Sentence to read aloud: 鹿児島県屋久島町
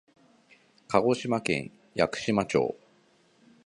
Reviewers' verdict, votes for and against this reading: accepted, 2, 0